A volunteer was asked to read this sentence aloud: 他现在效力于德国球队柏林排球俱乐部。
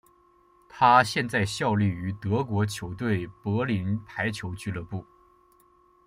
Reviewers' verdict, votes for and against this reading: accepted, 2, 1